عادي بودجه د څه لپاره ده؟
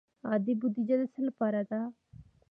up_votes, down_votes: 2, 1